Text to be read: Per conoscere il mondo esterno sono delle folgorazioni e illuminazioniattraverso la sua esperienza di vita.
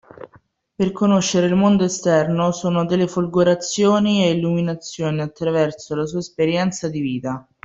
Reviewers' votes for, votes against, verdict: 1, 2, rejected